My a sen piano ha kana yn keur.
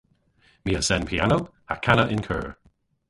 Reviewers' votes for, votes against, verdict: 0, 2, rejected